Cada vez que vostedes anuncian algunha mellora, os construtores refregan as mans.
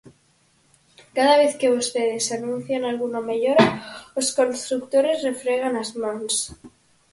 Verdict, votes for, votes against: accepted, 4, 0